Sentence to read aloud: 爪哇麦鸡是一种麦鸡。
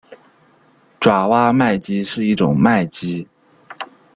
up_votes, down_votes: 1, 2